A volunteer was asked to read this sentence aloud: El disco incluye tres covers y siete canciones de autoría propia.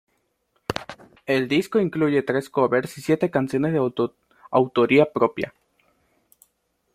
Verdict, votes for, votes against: rejected, 0, 2